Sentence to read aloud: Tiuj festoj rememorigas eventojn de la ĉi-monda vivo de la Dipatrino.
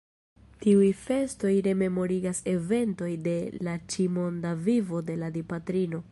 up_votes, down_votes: 1, 2